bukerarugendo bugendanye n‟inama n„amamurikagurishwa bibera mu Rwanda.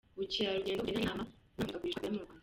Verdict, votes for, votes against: rejected, 0, 2